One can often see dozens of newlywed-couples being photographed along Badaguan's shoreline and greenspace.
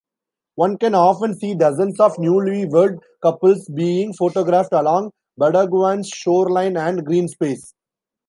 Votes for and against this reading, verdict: 2, 0, accepted